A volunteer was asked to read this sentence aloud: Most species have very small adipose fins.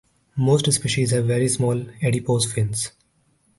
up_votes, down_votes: 0, 2